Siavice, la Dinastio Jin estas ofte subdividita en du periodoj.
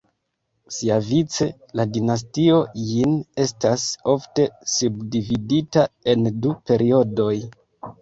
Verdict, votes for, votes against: accepted, 2, 0